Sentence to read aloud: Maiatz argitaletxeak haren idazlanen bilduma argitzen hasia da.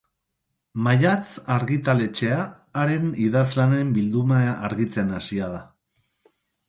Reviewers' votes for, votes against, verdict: 0, 2, rejected